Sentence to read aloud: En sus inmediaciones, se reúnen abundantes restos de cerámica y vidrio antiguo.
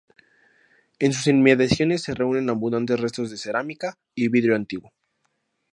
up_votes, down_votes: 0, 2